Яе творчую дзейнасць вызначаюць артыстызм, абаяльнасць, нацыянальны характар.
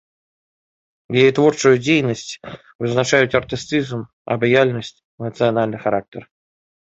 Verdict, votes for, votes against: accepted, 2, 0